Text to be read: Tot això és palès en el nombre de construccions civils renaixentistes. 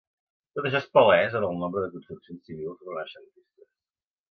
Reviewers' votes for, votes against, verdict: 1, 2, rejected